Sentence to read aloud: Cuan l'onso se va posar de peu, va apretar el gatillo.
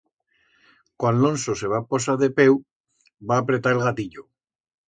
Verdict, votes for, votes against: accepted, 2, 0